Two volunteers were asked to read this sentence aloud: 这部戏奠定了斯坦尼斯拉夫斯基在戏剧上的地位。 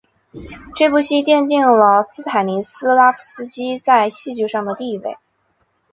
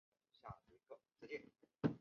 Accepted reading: first